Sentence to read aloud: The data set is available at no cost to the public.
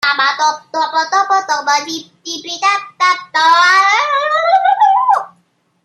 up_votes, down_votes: 0, 2